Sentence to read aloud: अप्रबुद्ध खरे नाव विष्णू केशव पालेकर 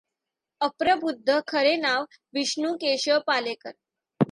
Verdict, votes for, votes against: accepted, 2, 0